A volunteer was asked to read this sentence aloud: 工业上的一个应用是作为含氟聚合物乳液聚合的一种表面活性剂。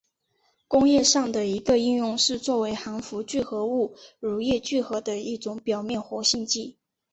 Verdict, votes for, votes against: accepted, 3, 1